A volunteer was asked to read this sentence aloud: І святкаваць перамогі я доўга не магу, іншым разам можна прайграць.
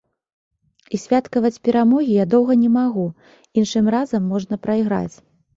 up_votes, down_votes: 1, 2